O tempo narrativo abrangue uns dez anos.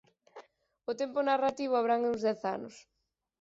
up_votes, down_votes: 0, 4